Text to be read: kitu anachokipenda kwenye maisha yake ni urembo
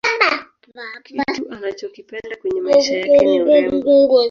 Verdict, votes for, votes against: rejected, 1, 2